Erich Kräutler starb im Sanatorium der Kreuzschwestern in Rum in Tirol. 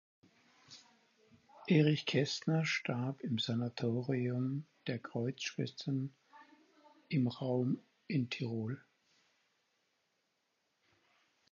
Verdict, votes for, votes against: rejected, 0, 4